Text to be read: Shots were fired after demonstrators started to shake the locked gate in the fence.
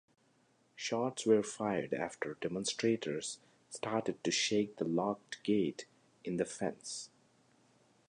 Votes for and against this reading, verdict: 2, 0, accepted